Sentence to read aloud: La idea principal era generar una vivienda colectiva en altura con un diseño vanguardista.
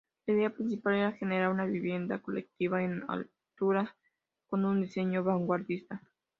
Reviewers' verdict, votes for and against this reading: accepted, 2, 0